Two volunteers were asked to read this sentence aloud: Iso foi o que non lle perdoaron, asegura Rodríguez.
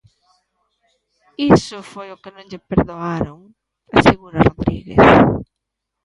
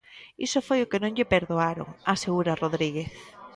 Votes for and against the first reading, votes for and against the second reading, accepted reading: 1, 2, 2, 0, second